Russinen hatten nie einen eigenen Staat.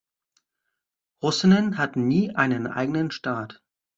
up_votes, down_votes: 1, 2